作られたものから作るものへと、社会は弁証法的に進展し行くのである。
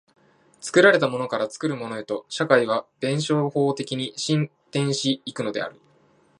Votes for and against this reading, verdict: 2, 1, accepted